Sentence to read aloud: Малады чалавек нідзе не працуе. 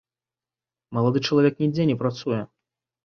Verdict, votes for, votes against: accepted, 2, 0